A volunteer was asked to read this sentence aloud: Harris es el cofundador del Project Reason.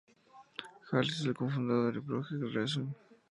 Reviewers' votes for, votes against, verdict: 0, 2, rejected